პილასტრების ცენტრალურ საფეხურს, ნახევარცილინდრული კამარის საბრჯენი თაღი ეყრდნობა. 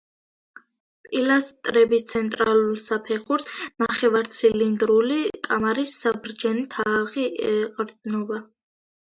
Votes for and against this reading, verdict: 0, 2, rejected